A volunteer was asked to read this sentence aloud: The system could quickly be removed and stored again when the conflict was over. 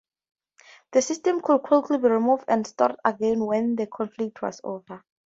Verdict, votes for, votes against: rejected, 0, 2